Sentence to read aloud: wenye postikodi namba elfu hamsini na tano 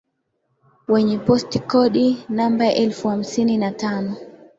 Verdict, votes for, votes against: accepted, 2, 1